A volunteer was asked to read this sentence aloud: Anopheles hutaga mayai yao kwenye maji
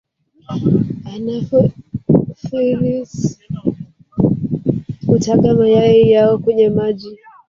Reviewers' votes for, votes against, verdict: 1, 2, rejected